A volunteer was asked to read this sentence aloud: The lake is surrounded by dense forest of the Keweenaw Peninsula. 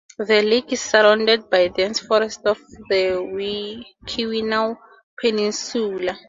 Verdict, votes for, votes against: rejected, 0, 2